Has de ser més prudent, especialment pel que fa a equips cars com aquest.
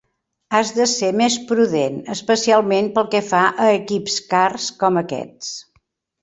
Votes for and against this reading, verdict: 0, 2, rejected